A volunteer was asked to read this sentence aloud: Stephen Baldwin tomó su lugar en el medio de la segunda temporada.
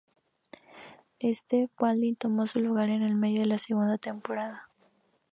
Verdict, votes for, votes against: accepted, 2, 0